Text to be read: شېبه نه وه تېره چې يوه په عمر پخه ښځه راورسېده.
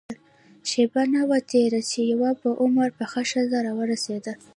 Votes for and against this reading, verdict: 1, 2, rejected